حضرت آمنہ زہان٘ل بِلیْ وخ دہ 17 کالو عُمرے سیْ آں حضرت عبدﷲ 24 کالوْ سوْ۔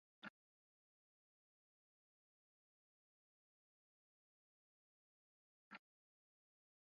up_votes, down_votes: 0, 2